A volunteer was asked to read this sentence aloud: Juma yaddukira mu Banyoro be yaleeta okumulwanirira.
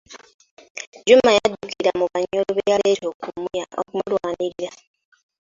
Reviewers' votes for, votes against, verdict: 0, 2, rejected